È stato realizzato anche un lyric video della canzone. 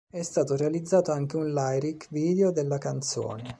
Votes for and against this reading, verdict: 1, 2, rejected